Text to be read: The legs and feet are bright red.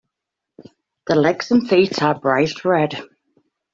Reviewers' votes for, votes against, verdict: 2, 0, accepted